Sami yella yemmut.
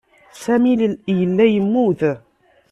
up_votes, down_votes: 0, 2